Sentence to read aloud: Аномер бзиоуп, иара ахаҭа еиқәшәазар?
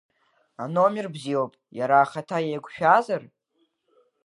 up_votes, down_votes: 2, 1